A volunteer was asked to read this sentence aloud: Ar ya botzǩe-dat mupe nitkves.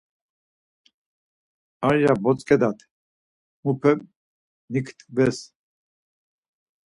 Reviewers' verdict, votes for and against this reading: accepted, 4, 2